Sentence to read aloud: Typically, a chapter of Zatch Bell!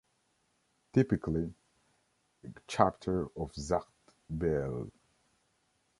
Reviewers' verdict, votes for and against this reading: rejected, 1, 2